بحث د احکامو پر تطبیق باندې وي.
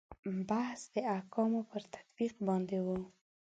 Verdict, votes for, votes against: rejected, 0, 2